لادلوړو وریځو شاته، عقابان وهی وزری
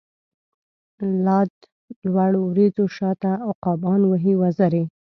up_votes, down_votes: 1, 2